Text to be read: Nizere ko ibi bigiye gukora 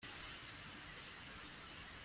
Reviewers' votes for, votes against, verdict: 0, 2, rejected